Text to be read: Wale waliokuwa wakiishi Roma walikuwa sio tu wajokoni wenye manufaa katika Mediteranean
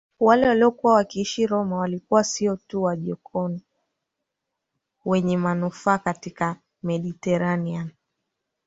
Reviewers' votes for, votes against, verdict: 1, 2, rejected